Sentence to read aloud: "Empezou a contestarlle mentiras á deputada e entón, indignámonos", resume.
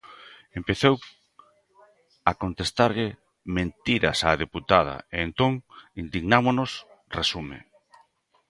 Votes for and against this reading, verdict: 2, 0, accepted